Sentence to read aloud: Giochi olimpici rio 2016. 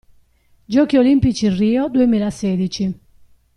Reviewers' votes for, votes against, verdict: 0, 2, rejected